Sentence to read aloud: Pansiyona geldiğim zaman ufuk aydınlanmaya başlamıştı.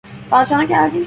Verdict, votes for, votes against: rejected, 0, 2